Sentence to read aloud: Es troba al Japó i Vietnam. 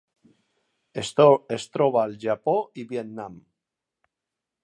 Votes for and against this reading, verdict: 1, 3, rejected